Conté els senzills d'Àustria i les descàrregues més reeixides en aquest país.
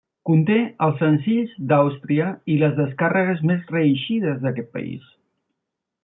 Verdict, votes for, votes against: rejected, 0, 2